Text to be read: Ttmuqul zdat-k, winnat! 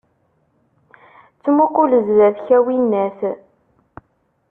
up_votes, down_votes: 1, 2